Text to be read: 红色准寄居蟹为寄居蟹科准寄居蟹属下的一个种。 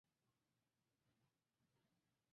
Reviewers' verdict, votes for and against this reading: rejected, 0, 2